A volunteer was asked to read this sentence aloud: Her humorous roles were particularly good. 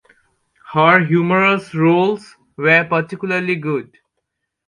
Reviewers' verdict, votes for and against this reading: accepted, 2, 0